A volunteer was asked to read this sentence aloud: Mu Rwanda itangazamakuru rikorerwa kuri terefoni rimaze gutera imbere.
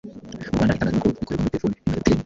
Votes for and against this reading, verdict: 0, 2, rejected